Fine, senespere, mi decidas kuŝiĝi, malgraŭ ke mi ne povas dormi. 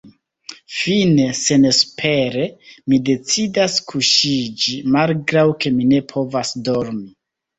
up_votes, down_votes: 2, 0